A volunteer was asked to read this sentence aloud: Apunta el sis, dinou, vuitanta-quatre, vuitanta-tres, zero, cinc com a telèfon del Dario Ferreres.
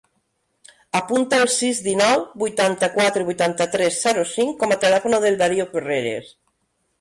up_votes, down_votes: 1, 2